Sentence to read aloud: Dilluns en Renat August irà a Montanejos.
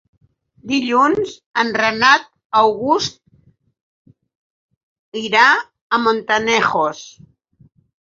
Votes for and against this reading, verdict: 6, 2, accepted